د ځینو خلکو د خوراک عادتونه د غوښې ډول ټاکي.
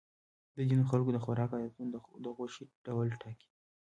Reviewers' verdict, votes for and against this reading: accepted, 2, 1